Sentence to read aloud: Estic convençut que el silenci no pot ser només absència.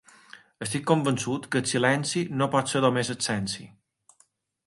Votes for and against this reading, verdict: 2, 0, accepted